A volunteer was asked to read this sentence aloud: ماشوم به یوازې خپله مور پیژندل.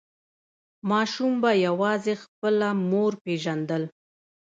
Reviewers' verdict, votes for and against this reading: accepted, 2, 0